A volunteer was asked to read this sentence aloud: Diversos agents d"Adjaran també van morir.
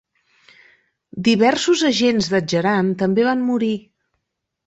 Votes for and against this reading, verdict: 2, 0, accepted